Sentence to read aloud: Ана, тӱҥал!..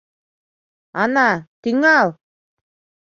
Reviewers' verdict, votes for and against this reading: accepted, 2, 0